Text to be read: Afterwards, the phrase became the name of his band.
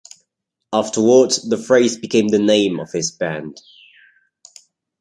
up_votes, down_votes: 2, 0